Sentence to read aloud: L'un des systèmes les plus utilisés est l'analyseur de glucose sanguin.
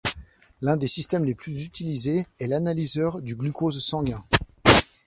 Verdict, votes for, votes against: rejected, 0, 2